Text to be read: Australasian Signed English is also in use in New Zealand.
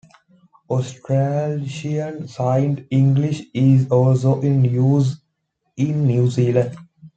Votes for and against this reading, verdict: 1, 2, rejected